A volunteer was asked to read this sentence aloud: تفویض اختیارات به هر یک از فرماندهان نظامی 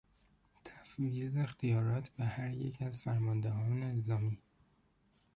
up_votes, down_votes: 1, 2